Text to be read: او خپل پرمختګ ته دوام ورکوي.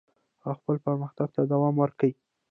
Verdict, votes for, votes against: accepted, 2, 1